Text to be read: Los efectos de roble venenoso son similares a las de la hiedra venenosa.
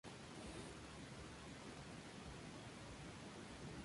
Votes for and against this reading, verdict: 0, 2, rejected